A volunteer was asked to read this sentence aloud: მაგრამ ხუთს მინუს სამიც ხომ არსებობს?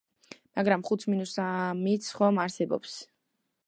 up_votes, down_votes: 0, 3